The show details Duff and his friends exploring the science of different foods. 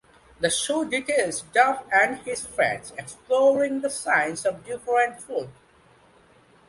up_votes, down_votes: 1, 2